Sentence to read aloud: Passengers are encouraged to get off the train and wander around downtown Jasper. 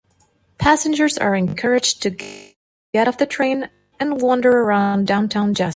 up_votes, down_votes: 0, 2